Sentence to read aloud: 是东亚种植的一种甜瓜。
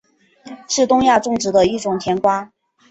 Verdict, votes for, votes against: accepted, 2, 0